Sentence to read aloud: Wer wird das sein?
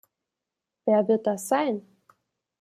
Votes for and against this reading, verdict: 2, 0, accepted